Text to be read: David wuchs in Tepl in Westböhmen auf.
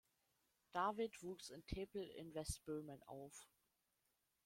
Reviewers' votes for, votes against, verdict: 2, 1, accepted